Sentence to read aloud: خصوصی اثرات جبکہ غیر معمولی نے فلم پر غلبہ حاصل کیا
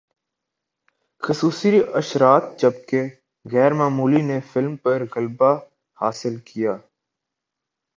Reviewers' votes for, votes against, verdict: 3, 0, accepted